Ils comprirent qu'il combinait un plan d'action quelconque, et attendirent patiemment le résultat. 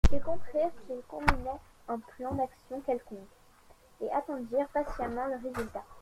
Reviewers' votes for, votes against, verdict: 0, 2, rejected